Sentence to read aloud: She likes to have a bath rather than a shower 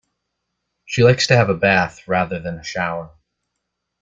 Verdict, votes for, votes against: accepted, 2, 0